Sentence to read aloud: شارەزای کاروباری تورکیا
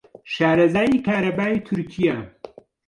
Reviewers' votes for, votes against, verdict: 0, 2, rejected